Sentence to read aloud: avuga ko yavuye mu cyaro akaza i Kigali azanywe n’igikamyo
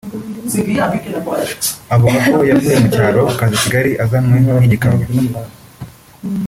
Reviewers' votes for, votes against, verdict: 1, 2, rejected